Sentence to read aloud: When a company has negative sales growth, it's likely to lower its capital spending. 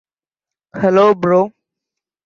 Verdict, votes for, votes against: rejected, 0, 2